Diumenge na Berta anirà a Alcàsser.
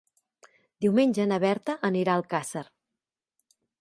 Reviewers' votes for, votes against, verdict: 2, 0, accepted